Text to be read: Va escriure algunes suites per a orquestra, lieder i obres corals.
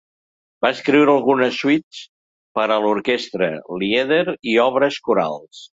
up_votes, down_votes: 2, 0